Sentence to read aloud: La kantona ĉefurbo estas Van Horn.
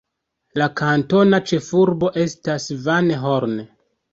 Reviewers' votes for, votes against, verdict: 1, 2, rejected